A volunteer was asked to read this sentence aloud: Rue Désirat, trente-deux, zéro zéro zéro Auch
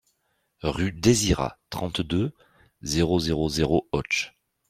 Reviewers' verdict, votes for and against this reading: accepted, 2, 1